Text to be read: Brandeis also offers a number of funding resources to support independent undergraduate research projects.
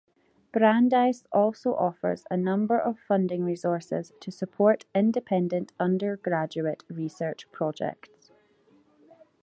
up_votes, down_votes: 2, 0